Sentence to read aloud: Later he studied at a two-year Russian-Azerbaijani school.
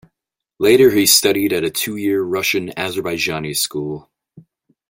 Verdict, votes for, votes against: accepted, 2, 0